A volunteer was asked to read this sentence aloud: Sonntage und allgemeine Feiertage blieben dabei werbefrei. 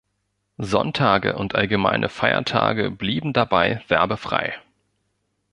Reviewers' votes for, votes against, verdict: 2, 0, accepted